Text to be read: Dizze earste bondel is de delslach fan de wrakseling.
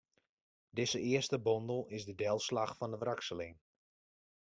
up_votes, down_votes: 2, 0